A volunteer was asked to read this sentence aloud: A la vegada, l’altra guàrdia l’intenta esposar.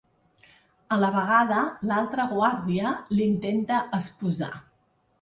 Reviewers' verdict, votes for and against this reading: accepted, 2, 0